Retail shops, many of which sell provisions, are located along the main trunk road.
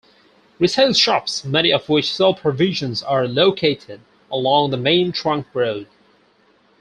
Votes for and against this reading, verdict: 4, 0, accepted